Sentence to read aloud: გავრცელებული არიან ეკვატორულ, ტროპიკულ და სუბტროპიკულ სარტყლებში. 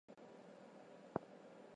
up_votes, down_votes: 0, 2